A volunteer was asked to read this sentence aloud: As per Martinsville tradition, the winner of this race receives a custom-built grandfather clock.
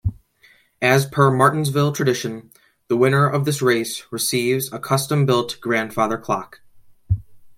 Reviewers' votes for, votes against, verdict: 2, 0, accepted